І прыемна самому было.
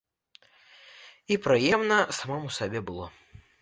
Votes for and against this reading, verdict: 0, 2, rejected